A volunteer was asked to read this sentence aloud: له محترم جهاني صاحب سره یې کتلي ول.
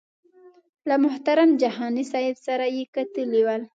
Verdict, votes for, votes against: accepted, 2, 0